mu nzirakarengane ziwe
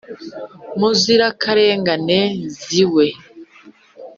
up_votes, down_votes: 2, 0